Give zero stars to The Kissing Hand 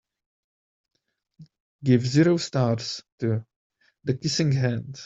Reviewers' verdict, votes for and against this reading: rejected, 1, 2